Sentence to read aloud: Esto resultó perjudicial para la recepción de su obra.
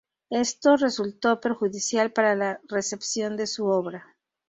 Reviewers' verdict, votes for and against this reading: accepted, 2, 0